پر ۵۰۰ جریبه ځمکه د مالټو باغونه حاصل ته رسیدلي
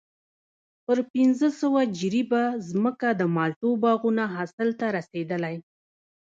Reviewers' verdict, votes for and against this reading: rejected, 0, 2